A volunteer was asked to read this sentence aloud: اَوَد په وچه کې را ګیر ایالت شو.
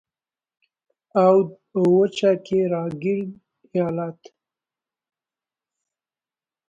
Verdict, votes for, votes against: rejected, 1, 2